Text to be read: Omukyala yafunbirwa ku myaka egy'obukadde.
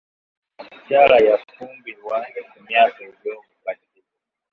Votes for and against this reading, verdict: 1, 2, rejected